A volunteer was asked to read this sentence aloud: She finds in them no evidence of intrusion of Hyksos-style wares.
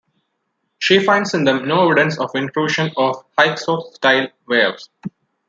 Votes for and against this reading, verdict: 0, 2, rejected